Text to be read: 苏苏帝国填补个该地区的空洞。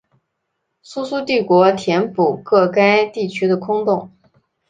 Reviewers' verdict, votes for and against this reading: accepted, 2, 0